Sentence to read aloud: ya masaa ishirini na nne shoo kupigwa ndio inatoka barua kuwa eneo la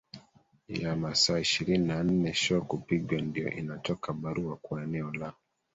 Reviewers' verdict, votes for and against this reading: rejected, 1, 2